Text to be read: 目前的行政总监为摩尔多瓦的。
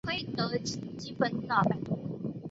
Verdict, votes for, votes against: accepted, 3, 2